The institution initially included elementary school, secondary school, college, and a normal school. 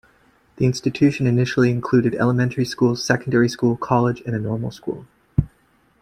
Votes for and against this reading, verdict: 2, 0, accepted